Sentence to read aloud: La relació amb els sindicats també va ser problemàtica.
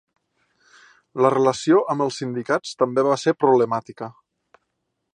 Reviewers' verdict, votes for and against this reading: accepted, 2, 0